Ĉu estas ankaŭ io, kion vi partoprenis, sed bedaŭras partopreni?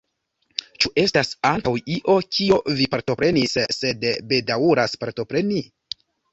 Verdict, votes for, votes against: rejected, 1, 2